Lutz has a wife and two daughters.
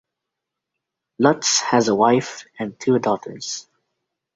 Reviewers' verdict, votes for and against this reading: accepted, 2, 0